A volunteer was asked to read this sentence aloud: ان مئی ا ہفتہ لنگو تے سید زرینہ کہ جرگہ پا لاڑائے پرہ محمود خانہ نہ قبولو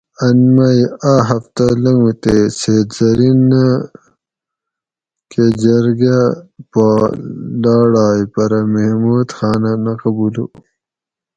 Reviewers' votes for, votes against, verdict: 2, 2, rejected